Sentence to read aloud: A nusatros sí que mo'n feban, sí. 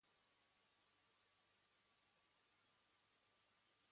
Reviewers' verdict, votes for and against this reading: rejected, 1, 2